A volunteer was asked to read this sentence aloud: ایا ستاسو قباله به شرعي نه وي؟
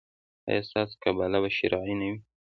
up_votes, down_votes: 2, 0